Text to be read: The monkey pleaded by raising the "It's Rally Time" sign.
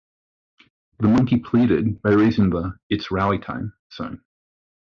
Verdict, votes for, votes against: rejected, 1, 2